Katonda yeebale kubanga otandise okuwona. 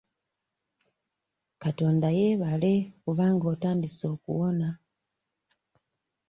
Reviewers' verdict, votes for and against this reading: accepted, 2, 0